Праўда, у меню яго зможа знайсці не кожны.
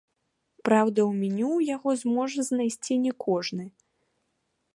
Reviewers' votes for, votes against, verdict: 3, 0, accepted